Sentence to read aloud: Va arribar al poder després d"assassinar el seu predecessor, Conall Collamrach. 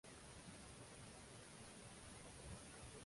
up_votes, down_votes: 0, 2